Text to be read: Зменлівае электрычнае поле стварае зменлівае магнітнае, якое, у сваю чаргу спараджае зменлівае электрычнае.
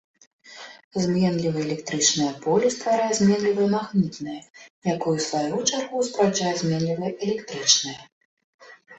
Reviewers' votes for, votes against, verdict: 1, 2, rejected